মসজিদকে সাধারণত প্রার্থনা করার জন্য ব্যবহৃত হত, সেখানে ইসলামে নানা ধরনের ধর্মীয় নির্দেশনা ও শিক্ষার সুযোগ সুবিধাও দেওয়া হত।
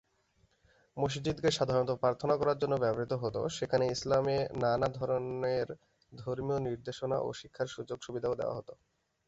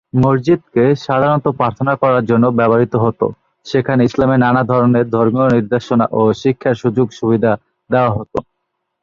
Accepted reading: first